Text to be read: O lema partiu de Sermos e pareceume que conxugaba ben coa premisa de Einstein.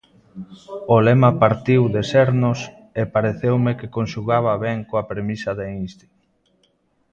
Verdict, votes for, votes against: rejected, 0, 2